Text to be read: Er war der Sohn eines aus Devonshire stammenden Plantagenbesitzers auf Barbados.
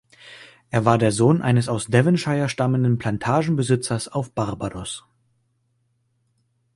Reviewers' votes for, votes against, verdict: 0, 2, rejected